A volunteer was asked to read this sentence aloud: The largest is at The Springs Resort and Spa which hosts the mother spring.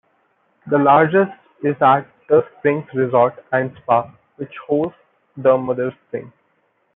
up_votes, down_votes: 2, 0